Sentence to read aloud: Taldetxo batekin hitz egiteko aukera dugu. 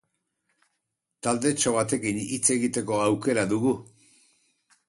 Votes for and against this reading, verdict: 2, 2, rejected